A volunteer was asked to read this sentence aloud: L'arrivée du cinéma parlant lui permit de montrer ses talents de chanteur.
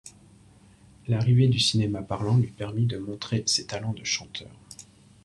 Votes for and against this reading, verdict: 2, 1, accepted